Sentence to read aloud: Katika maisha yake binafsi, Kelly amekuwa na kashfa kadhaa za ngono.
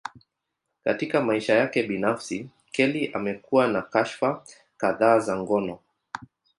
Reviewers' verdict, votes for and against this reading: accepted, 2, 0